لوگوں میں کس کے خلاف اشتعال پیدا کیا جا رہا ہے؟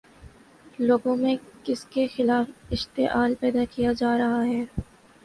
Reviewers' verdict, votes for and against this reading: accepted, 2, 0